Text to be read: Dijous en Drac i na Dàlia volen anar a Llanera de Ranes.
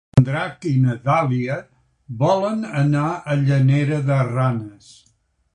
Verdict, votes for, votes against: rejected, 0, 2